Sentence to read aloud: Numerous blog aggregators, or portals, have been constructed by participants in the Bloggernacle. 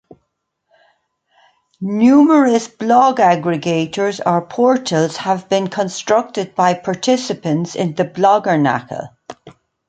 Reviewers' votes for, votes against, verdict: 2, 0, accepted